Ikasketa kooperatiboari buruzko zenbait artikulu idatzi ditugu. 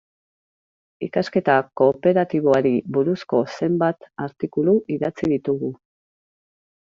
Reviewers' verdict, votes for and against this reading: rejected, 0, 2